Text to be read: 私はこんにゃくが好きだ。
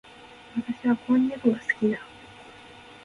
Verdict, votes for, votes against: rejected, 0, 2